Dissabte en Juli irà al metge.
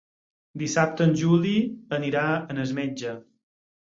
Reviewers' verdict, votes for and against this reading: rejected, 0, 6